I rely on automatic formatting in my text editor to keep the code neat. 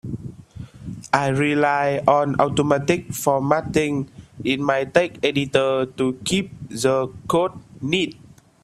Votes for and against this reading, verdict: 1, 2, rejected